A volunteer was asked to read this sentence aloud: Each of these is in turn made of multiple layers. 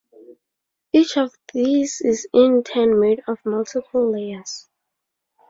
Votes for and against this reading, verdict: 4, 0, accepted